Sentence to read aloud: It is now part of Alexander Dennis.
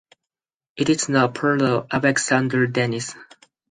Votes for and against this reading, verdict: 2, 4, rejected